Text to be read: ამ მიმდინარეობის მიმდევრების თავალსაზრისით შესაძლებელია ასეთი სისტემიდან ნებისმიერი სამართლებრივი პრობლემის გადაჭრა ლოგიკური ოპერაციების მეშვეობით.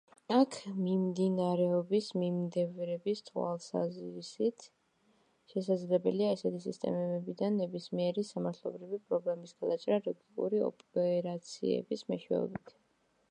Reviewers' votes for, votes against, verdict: 0, 2, rejected